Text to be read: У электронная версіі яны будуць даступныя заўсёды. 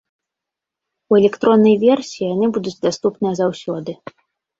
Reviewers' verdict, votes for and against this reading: accepted, 2, 0